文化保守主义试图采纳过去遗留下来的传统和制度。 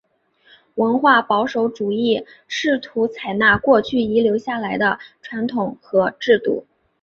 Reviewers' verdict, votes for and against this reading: accepted, 2, 0